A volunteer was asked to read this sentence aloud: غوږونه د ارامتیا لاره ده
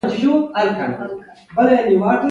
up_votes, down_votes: 1, 2